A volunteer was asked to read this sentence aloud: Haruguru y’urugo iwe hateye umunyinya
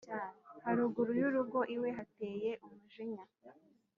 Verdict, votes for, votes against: rejected, 1, 2